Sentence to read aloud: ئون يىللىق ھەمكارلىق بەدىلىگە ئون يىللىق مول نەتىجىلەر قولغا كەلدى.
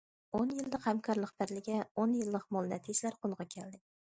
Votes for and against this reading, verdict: 2, 1, accepted